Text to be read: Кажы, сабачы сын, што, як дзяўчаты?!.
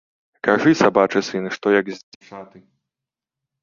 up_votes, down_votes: 0, 2